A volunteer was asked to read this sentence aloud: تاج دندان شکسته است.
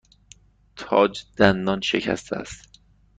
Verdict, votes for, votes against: accepted, 2, 1